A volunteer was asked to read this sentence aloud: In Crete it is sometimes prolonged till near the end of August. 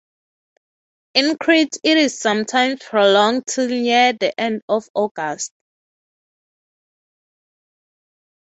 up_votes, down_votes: 3, 3